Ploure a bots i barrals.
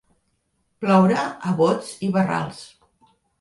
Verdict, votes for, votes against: accepted, 2, 0